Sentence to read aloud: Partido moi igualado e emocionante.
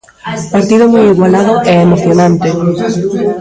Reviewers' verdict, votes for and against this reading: rejected, 0, 2